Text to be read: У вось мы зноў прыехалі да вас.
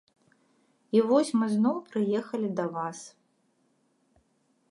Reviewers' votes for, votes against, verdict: 0, 2, rejected